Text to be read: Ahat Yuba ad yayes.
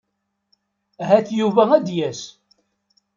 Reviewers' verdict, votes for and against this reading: rejected, 1, 2